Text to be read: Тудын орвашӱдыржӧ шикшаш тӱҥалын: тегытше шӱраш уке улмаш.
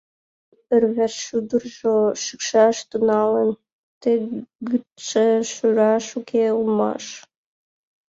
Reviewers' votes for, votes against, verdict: 0, 2, rejected